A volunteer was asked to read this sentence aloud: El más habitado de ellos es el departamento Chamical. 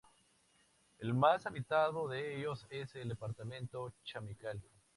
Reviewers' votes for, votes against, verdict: 2, 0, accepted